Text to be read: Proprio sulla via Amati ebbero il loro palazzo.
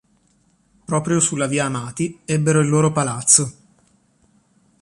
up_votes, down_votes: 2, 0